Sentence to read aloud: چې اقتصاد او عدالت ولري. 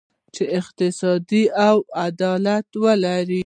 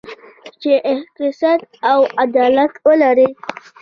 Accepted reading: second